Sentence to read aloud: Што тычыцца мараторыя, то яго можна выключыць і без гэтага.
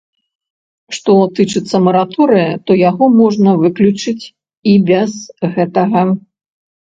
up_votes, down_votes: 2, 0